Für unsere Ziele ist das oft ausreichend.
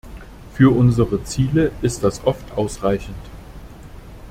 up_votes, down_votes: 2, 0